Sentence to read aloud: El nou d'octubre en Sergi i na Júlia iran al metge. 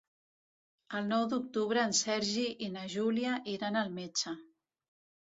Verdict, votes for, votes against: accepted, 2, 0